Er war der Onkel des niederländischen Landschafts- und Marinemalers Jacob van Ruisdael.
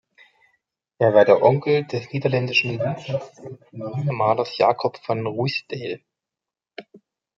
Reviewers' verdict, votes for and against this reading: rejected, 0, 2